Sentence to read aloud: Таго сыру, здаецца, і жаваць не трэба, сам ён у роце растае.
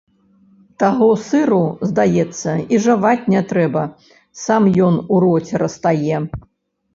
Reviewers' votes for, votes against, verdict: 2, 0, accepted